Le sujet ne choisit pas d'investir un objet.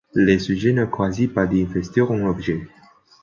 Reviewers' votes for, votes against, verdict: 0, 2, rejected